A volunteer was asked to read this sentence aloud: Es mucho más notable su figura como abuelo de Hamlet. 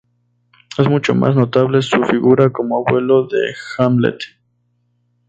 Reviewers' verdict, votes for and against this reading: accepted, 4, 0